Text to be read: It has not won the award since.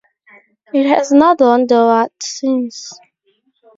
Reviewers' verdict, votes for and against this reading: rejected, 2, 2